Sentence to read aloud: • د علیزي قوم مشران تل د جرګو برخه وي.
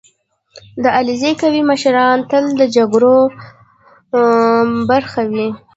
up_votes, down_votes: 1, 2